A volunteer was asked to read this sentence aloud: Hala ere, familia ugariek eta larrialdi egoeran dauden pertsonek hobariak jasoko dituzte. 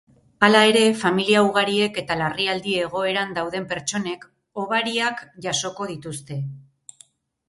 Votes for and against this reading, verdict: 6, 0, accepted